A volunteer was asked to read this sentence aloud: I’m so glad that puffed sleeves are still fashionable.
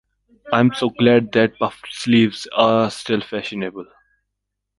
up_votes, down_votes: 2, 1